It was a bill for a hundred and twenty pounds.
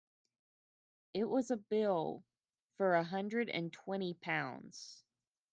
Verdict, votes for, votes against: accepted, 2, 0